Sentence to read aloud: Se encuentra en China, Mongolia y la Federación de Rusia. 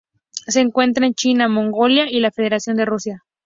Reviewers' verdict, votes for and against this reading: accepted, 2, 0